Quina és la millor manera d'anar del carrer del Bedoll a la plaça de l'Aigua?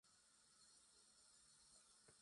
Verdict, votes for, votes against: rejected, 1, 2